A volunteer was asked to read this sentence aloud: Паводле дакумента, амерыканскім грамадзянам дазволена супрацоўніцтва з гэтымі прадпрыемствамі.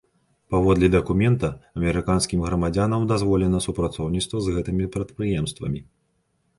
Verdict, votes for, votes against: accepted, 4, 0